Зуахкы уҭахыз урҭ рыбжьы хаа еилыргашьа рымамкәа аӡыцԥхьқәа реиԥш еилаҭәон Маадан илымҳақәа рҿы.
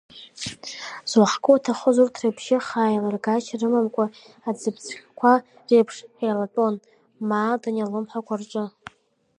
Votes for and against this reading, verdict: 0, 2, rejected